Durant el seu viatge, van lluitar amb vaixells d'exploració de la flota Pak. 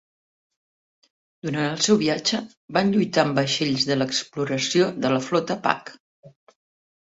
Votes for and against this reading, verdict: 0, 2, rejected